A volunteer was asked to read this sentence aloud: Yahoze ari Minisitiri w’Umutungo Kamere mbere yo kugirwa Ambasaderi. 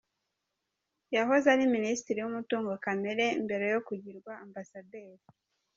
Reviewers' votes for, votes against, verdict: 0, 2, rejected